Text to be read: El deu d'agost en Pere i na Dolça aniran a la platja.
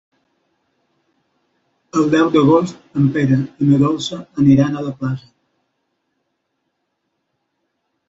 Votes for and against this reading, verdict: 0, 2, rejected